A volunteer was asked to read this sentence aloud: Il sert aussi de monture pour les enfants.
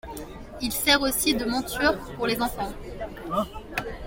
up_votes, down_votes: 2, 1